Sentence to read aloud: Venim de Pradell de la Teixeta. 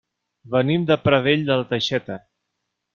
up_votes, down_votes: 3, 0